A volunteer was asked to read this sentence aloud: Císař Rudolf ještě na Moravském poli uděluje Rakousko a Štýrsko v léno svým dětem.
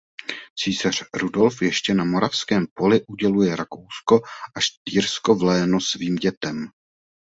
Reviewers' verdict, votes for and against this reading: accepted, 2, 0